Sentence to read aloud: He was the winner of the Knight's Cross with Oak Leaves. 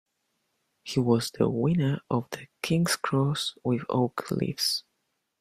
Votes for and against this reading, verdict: 1, 2, rejected